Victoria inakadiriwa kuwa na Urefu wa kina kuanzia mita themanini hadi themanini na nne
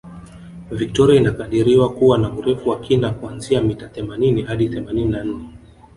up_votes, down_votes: 3, 1